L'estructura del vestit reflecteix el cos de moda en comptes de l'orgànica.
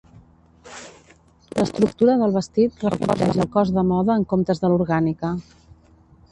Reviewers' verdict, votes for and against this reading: rejected, 1, 2